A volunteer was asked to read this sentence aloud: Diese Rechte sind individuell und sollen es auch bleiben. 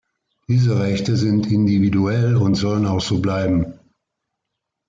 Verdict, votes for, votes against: rejected, 1, 2